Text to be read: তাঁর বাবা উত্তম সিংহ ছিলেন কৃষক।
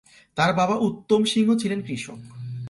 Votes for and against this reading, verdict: 2, 0, accepted